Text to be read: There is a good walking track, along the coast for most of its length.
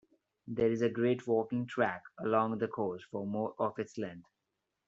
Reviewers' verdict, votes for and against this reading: rejected, 1, 2